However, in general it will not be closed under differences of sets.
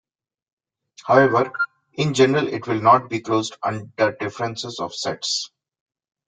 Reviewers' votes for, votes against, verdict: 2, 0, accepted